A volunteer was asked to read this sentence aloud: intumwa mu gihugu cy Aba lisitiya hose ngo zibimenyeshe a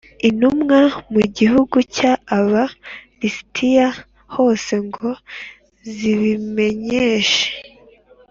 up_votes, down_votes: 2, 0